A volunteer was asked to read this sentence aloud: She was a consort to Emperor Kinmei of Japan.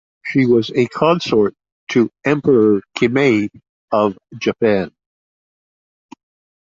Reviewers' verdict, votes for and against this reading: accepted, 2, 0